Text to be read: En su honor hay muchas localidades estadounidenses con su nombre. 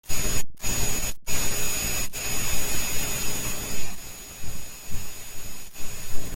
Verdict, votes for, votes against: rejected, 0, 2